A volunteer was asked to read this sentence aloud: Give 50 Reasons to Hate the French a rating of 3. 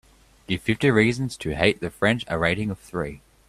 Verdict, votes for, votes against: rejected, 0, 2